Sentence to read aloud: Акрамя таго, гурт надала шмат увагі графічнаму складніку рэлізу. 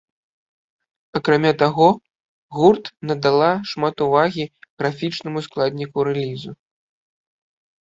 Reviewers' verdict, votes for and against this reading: accepted, 2, 0